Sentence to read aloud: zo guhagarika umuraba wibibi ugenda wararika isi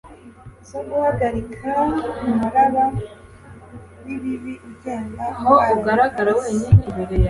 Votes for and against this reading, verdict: 0, 2, rejected